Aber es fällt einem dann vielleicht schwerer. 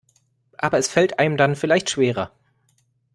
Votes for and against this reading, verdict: 2, 0, accepted